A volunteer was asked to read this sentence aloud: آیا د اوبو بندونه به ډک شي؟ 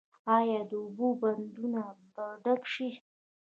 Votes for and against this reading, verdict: 1, 2, rejected